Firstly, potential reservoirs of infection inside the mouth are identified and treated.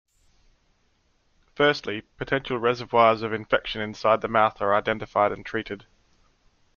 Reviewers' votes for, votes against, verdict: 2, 0, accepted